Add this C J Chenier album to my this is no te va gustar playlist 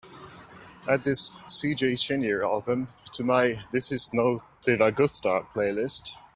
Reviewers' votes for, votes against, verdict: 2, 0, accepted